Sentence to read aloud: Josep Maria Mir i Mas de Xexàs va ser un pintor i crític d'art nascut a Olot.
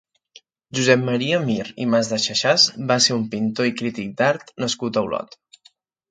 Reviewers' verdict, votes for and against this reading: accepted, 2, 0